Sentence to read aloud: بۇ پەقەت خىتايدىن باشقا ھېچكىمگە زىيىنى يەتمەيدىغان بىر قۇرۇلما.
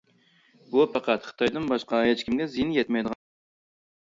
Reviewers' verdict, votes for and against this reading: rejected, 0, 2